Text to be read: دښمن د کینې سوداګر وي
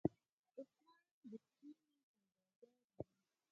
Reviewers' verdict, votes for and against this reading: rejected, 0, 4